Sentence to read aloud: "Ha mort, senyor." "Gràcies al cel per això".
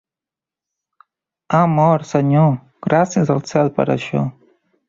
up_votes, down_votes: 2, 0